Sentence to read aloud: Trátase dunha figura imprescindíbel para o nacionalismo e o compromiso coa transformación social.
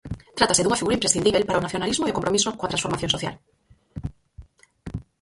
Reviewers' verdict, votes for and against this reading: rejected, 2, 4